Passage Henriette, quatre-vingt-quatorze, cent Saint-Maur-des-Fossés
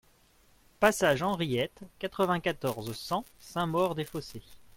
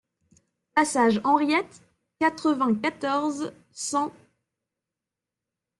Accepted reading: first